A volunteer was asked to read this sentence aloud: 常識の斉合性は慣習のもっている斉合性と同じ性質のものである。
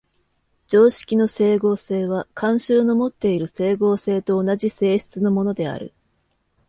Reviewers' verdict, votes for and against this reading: accepted, 2, 0